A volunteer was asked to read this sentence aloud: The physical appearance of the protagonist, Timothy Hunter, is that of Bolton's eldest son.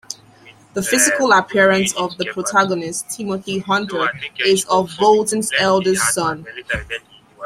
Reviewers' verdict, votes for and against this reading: accepted, 2, 1